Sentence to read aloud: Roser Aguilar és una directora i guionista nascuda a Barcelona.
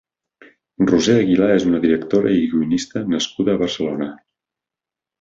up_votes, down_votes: 3, 0